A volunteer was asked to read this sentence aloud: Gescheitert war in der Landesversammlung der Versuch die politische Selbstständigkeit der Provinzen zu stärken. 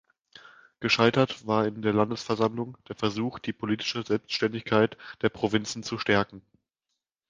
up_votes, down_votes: 2, 0